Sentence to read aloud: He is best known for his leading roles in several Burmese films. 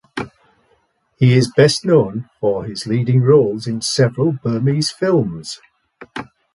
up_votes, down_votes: 2, 0